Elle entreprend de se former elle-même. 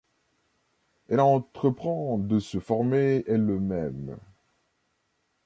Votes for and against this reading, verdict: 1, 2, rejected